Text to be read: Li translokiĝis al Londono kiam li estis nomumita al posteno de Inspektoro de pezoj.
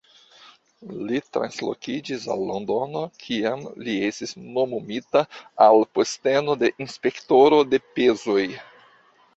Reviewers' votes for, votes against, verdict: 0, 2, rejected